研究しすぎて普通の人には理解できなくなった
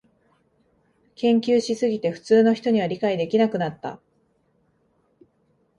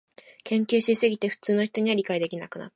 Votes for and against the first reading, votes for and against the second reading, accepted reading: 2, 1, 1, 2, first